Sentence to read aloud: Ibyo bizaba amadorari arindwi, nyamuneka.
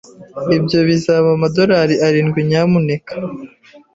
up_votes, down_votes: 2, 0